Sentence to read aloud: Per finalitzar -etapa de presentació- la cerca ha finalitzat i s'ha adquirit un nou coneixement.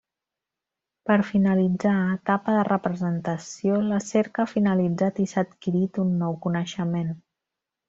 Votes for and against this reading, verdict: 0, 2, rejected